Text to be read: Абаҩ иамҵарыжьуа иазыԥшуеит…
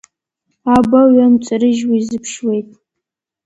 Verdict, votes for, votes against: accepted, 2, 0